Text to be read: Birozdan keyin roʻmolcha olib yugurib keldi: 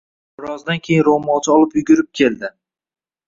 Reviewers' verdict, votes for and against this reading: accepted, 2, 0